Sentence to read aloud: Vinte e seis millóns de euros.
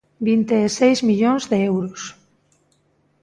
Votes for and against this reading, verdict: 2, 0, accepted